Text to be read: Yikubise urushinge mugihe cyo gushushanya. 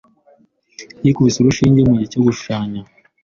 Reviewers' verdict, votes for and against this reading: accepted, 2, 0